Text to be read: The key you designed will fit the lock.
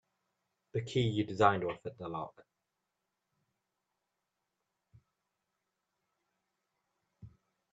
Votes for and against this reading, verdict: 2, 1, accepted